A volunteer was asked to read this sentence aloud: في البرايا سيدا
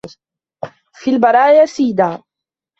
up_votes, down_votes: 0, 2